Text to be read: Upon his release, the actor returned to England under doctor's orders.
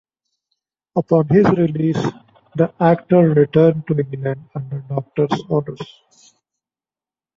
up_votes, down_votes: 2, 0